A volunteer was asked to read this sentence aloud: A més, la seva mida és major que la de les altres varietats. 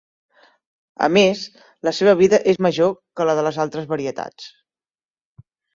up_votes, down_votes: 0, 2